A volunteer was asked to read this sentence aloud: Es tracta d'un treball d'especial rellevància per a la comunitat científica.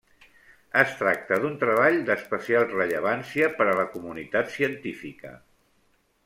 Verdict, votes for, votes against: accepted, 2, 0